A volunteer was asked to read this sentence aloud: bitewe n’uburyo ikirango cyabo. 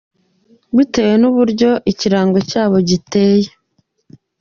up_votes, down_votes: 1, 2